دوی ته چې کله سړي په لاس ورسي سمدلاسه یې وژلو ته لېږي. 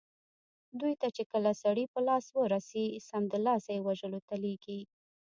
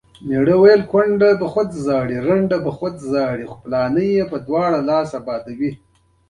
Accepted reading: second